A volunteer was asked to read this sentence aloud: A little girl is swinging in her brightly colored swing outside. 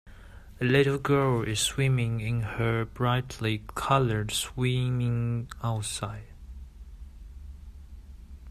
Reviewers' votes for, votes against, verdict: 1, 3, rejected